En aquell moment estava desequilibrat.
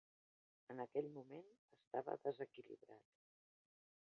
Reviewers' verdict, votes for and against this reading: rejected, 1, 2